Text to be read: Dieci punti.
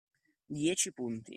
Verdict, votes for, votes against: accepted, 2, 0